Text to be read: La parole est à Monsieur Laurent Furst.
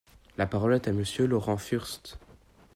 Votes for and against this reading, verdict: 2, 0, accepted